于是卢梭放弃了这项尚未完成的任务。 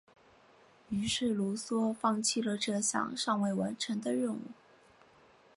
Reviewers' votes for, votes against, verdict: 2, 1, accepted